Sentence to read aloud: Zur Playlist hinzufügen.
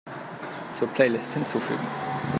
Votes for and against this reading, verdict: 2, 0, accepted